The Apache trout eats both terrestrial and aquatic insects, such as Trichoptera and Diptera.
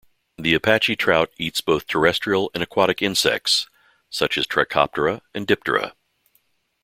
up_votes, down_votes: 2, 0